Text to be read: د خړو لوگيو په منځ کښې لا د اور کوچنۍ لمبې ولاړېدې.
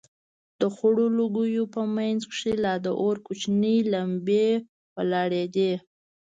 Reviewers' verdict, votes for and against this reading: rejected, 1, 2